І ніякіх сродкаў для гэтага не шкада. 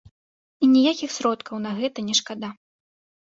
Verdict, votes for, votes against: rejected, 0, 2